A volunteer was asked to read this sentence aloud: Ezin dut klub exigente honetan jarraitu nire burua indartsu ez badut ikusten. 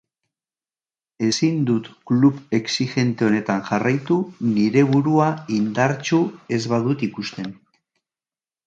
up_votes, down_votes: 2, 0